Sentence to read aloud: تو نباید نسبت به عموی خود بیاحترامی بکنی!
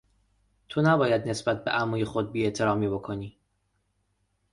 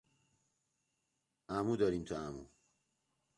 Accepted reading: first